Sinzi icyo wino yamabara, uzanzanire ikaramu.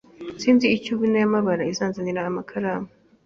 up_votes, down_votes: 0, 2